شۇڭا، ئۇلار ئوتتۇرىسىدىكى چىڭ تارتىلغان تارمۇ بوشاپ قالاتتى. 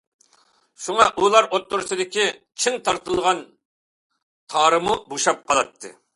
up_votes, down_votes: 2, 0